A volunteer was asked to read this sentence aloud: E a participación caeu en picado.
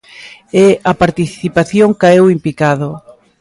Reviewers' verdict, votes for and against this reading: accepted, 2, 0